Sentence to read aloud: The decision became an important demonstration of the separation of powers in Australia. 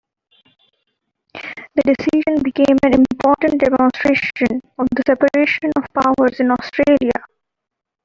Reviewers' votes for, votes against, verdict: 0, 2, rejected